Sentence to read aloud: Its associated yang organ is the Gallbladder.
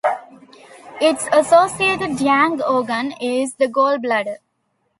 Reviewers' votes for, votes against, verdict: 2, 0, accepted